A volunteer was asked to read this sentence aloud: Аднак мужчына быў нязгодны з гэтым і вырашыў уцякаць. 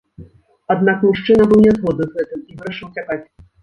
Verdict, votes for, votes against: rejected, 0, 2